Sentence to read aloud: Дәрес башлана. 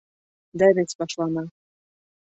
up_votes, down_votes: 2, 1